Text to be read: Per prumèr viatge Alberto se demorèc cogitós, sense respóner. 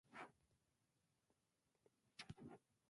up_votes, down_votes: 0, 2